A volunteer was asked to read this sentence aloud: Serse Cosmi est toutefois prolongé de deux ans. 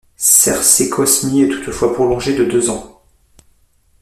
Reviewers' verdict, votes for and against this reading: accepted, 2, 0